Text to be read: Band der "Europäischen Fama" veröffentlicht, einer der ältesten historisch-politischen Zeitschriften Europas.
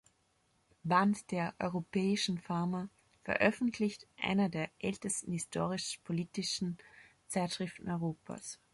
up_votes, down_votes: 1, 2